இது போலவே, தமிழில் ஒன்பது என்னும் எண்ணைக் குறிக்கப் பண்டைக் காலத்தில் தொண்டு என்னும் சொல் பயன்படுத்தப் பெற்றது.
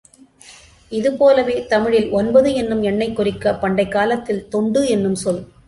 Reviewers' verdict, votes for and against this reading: rejected, 0, 2